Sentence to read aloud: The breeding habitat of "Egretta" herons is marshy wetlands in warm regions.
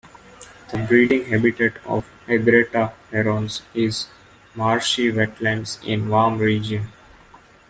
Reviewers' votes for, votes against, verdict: 1, 2, rejected